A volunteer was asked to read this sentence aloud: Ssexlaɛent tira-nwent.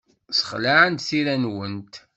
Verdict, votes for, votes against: rejected, 0, 2